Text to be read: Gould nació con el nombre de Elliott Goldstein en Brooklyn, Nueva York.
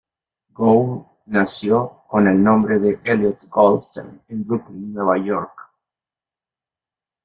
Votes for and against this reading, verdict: 2, 0, accepted